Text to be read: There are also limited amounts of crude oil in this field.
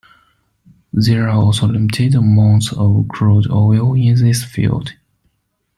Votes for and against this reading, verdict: 2, 1, accepted